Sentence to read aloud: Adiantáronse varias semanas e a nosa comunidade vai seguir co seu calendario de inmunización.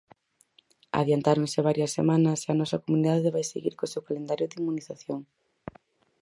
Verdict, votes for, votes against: accepted, 4, 0